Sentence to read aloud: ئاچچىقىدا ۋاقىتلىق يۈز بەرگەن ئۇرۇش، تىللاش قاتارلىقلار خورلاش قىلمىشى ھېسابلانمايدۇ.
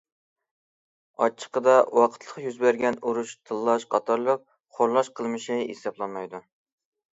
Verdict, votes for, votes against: rejected, 1, 2